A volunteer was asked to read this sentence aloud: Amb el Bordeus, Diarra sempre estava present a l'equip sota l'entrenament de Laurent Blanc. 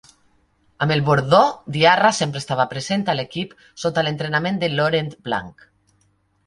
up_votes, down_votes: 0, 2